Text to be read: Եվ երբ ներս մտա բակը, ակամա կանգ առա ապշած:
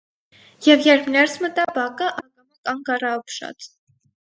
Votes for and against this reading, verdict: 0, 4, rejected